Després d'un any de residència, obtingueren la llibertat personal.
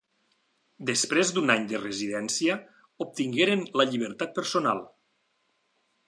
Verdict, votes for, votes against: accepted, 3, 0